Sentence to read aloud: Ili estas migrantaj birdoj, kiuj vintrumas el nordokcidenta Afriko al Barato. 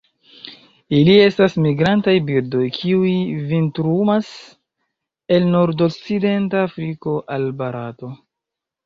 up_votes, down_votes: 1, 2